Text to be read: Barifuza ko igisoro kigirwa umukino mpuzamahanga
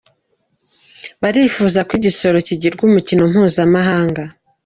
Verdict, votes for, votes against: accepted, 2, 0